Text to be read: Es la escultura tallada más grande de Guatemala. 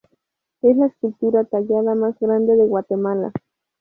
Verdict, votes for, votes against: accepted, 4, 0